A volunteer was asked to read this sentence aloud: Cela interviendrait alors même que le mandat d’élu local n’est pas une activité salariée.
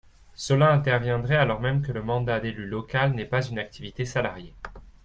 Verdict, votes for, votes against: accepted, 2, 0